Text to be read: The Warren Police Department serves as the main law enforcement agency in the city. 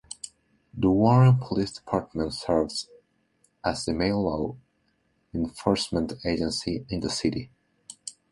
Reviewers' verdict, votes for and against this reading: accepted, 2, 1